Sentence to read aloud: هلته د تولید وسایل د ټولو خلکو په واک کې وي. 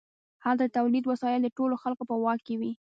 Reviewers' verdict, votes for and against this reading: rejected, 1, 2